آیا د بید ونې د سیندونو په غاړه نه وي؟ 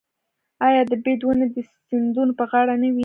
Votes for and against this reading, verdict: 0, 2, rejected